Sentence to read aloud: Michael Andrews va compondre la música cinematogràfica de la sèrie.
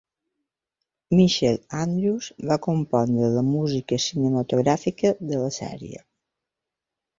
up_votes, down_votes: 2, 1